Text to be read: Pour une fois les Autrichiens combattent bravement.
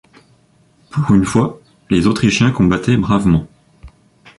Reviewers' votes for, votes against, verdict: 0, 2, rejected